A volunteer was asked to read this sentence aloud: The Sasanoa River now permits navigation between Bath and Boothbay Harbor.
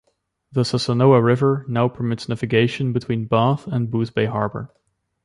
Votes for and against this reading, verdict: 1, 2, rejected